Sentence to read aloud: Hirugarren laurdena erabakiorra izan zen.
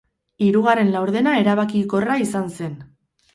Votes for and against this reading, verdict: 2, 4, rejected